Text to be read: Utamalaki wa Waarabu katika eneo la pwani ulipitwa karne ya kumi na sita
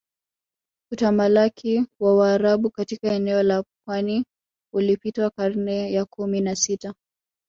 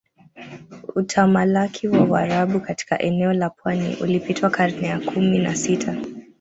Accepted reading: first